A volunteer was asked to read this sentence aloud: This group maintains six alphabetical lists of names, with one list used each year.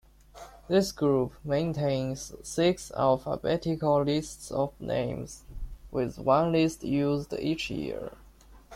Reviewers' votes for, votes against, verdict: 2, 0, accepted